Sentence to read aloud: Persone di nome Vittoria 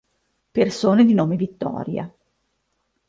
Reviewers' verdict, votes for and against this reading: accepted, 2, 0